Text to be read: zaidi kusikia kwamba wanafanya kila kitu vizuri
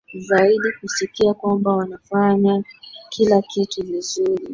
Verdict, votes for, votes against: accepted, 2, 0